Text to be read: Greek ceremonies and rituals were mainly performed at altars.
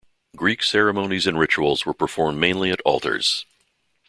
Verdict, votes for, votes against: rejected, 1, 2